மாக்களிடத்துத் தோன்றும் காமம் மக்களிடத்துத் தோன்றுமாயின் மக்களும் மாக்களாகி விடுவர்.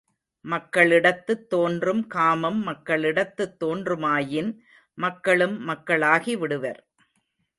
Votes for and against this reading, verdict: 0, 2, rejected